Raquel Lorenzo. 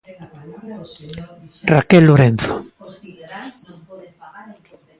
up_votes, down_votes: 1, 2